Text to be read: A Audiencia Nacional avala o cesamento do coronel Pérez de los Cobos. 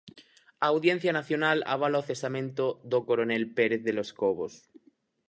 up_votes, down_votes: 4, 0